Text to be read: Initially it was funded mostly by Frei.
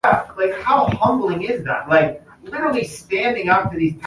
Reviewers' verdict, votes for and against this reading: rejected, 0, 2